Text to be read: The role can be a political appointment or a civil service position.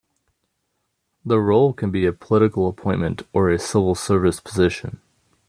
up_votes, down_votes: 2, 0